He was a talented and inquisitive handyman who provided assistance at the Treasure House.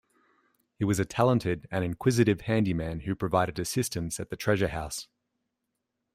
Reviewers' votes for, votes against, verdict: 2, 0, accepted